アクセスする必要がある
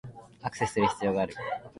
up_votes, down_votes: 0, 2